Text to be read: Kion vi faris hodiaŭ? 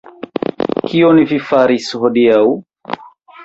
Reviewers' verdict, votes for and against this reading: rejected, 0, 2